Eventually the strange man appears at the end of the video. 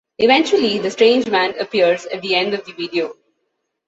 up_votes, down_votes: 2, 0